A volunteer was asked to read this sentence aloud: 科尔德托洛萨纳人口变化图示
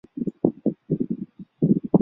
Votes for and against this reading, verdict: 0, 2, rejected